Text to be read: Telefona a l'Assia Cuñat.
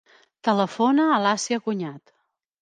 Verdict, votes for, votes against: accepted, 2, 1